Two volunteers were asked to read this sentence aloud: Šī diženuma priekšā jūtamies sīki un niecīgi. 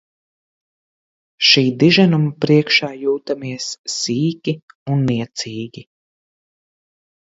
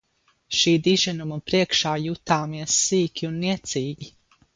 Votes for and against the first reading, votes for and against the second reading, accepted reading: 2, 0, 2, 2, first